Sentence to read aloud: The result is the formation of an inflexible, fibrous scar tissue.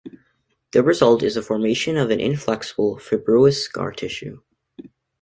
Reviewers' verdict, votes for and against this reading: accepted, 2, 0